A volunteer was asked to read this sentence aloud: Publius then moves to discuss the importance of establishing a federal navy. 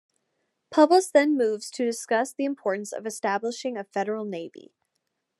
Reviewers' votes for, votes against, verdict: 1, 2, rejected